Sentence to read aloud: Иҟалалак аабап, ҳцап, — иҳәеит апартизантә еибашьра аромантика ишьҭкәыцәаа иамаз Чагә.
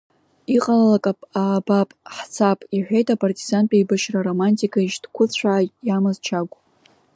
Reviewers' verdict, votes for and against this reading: accepted, 2, 0